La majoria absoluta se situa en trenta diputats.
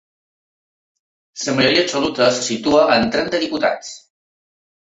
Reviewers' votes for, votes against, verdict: 0, 2, rejected